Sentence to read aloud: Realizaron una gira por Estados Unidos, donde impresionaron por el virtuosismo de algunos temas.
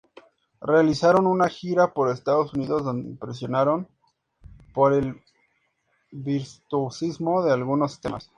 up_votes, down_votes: 0, 4